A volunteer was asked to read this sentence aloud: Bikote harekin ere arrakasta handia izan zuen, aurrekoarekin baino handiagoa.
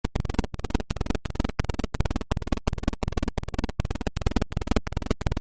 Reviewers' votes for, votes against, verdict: 0, 2, rejected